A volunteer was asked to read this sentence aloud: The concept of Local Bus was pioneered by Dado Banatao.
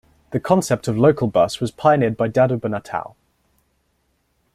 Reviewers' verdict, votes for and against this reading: accepted, 2, 0